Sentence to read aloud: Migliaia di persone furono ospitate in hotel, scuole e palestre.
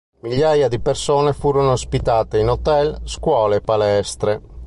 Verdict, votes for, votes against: accepted, 2, 0